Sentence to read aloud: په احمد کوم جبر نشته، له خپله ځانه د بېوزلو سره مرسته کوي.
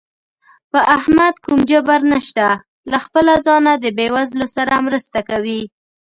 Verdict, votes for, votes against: accepted, 2, 1